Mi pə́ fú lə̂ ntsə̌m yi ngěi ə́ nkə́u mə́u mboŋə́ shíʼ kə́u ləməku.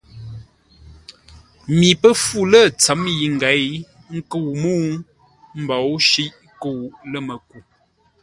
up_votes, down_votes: 2, 0